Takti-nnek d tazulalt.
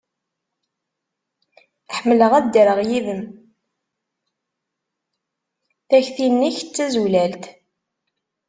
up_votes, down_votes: 1, 2